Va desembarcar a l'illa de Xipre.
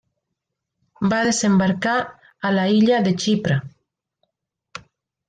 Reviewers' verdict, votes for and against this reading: rejected, 1, 2